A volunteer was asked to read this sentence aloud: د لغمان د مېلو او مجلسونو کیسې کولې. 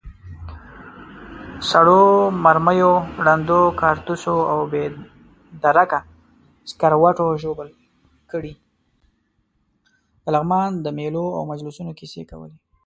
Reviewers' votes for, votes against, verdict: 0, 2, rejected